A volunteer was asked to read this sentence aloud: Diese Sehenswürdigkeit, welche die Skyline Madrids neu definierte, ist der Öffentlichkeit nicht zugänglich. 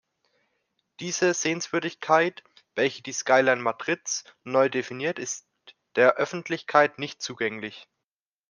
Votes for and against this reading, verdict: 1, 2, rejected